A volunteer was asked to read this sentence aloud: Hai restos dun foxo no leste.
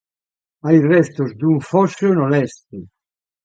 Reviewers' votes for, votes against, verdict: 2, 3, rejected